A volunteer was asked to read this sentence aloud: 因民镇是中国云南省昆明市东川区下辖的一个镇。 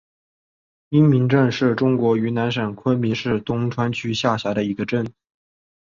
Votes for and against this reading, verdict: 2, 0, accepted